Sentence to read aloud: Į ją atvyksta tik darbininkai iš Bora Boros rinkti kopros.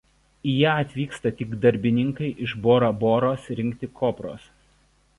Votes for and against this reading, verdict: 2, 0, accepted